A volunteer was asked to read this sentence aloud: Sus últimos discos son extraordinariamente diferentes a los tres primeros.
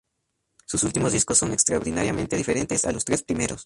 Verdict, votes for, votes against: accepted, 2, 0